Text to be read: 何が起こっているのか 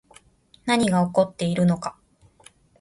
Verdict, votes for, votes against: accepted, 2, 0